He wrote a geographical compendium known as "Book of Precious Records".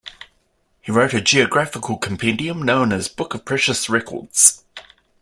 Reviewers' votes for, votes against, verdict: 2, 0, accepted